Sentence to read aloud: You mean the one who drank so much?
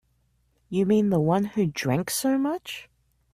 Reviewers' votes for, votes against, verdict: 2, 0, accepted